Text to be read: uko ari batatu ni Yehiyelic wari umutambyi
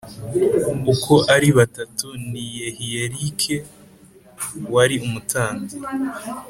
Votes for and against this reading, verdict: 2, 0, accepted